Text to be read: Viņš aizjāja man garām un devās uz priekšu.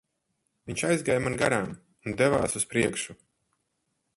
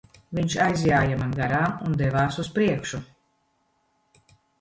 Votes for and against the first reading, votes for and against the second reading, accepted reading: 2, 4, 3, 0, second